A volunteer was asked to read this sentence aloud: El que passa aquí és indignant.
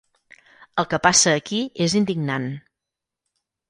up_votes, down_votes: 4, 0